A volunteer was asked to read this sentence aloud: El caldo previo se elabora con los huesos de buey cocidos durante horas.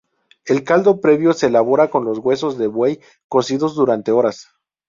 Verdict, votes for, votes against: accepted, 2, 0